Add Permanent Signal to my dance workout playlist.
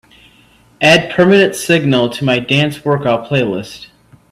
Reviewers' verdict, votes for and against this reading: accepted, 3, 0